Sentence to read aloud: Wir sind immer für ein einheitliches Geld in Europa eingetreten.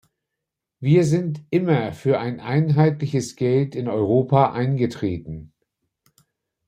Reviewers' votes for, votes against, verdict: 2, 0, accepted